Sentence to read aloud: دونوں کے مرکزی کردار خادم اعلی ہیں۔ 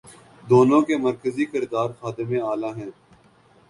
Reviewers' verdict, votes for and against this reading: accepted, 3, 0